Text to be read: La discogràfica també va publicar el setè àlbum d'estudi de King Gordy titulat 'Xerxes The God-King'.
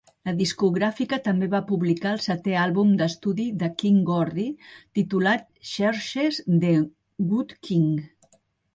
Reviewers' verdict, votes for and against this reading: rejected, 1, 3